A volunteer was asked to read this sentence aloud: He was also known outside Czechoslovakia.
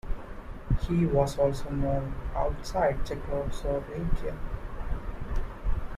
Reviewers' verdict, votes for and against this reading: accepted, 2, 0